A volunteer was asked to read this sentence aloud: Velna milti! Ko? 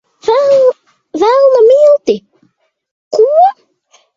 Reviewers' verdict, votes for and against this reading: rejected, 1, 2